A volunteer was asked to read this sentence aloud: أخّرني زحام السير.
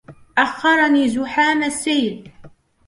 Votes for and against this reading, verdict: 0, 2, rejected